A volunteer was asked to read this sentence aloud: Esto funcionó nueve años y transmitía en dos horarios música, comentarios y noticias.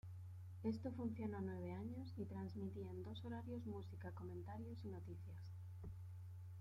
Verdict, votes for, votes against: rejected, 0, 2